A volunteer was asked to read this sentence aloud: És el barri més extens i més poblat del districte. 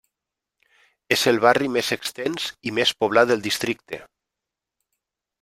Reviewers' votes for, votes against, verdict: 3, 0, accepted